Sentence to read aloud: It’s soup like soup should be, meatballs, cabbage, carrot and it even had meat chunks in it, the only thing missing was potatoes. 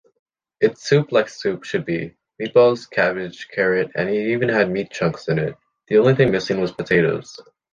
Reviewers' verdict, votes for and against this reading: accepted, 2, 0